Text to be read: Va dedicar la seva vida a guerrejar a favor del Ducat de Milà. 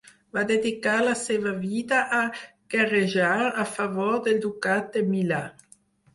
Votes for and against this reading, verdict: 4, 0, accepted